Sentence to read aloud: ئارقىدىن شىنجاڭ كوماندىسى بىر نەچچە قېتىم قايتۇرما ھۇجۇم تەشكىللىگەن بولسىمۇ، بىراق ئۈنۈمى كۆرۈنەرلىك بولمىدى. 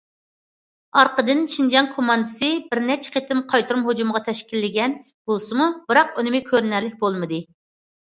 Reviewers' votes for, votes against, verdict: 0, 2, rejected